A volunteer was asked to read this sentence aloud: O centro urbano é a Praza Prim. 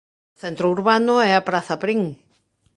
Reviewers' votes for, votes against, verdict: 1, 2, rejected